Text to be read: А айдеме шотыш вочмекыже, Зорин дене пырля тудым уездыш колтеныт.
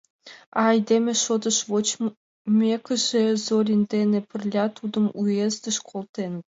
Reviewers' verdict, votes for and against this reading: rejected, 0, 2